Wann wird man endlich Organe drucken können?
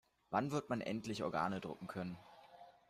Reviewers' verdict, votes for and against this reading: accepted, 2, 0